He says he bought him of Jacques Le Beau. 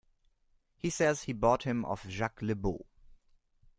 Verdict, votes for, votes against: accepted, 2, 0